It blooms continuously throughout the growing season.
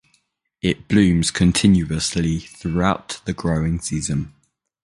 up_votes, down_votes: 2, 0